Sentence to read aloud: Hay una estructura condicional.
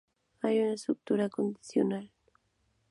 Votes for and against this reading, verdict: 2, 0, accepted